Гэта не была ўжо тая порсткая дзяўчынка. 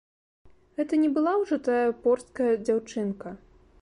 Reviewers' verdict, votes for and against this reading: accepted, 2, 0